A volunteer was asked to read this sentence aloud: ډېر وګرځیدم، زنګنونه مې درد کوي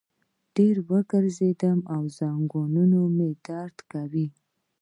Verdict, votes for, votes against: rejected, 0, 2